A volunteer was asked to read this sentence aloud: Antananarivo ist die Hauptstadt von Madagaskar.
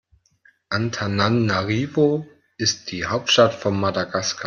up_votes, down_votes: 2, 1